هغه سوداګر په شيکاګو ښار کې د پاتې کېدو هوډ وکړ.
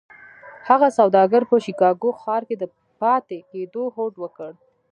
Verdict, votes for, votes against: accepted, 2, 0